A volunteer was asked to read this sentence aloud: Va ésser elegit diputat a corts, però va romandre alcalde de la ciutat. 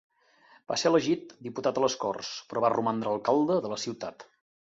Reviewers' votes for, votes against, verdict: 0, 2, rejected